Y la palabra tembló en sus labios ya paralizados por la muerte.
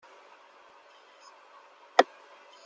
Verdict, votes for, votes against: rejected, 0, 2